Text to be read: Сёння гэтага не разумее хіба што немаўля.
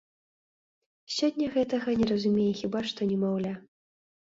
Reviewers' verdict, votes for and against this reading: accepted, 2, 0